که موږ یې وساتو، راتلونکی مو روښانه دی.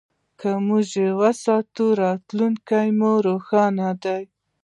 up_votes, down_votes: 1, 2